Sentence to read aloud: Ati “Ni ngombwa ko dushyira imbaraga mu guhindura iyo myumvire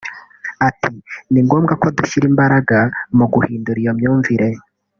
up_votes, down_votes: 1, 2